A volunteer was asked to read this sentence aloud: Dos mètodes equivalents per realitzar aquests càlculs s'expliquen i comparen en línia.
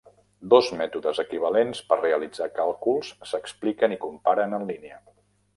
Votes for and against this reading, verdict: 0, 2, rejected